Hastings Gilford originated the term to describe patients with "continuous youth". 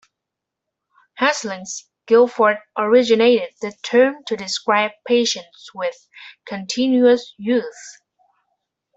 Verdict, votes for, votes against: rejected, 1, 2